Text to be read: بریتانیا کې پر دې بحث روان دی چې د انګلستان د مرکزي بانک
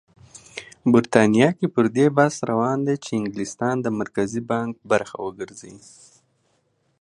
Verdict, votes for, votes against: rejected, 1, 2